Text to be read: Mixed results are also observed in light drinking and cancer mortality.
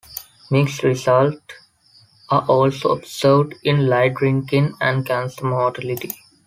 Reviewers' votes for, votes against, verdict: 2, 1, accepted